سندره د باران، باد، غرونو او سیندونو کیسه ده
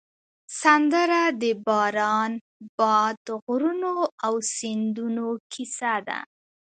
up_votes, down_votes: 2, 0